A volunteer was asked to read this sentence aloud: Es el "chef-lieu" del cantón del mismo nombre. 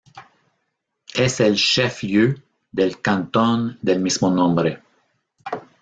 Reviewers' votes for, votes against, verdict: 0, 2, rejected